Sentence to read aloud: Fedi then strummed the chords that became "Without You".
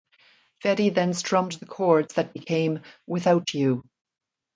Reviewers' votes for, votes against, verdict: 2, 0, accepted